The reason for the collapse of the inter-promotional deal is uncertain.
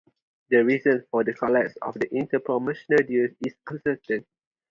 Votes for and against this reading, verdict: 0, 4, rejected